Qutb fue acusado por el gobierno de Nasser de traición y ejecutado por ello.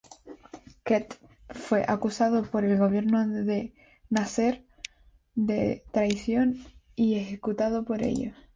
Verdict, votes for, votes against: accepted, 2, 0